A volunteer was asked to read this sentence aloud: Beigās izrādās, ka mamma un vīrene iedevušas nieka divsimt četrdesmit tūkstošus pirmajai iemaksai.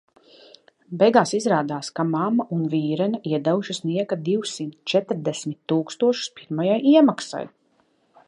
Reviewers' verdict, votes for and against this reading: accepted, 2, 0